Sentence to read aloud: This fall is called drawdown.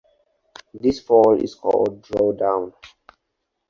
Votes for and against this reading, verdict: 4, 0, accepted